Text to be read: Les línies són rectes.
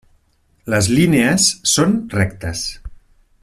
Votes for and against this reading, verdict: 3, 0, accepted